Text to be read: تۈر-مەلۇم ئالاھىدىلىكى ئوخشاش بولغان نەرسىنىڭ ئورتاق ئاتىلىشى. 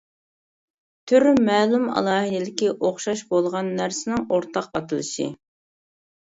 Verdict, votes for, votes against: accepted, 2, 0